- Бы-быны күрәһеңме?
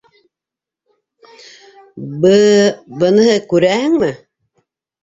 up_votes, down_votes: 0, 2